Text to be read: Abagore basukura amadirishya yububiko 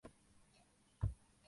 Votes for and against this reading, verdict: 0, 2, rejected